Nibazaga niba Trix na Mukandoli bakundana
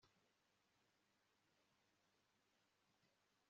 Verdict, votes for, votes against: rejected, 1, 2